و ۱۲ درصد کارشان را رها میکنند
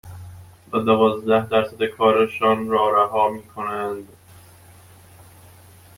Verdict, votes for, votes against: rejected, 0, 2